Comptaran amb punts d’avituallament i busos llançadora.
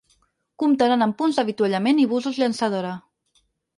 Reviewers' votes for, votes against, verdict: 6, 2, accepted